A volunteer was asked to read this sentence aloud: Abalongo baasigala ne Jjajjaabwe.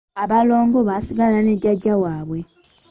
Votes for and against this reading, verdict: 1, 2, rejected